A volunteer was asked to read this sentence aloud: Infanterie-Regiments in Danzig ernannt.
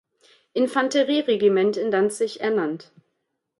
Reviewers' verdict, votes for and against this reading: rejected, 1, 2